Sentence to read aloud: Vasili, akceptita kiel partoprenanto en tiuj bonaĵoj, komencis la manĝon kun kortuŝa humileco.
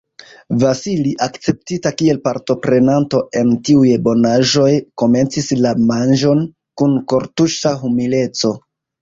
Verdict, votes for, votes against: rejected, 0, 2